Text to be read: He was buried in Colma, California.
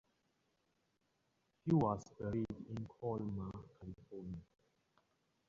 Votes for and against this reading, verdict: 0, 4, rejected